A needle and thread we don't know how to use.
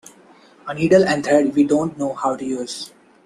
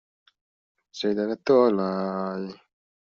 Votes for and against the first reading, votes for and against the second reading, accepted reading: 2, 0, 0, 2, first